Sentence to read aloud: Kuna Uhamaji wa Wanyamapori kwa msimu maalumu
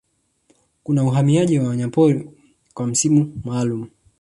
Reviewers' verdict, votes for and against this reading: rejected, 1, 2